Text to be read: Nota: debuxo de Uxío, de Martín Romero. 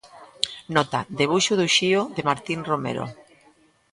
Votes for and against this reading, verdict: 1, 2, rejected